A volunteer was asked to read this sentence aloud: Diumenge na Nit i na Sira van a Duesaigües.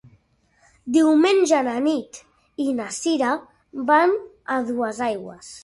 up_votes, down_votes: 2, 0